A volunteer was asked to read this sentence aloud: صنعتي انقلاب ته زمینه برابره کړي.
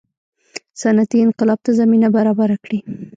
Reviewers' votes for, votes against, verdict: 1, 2, rejected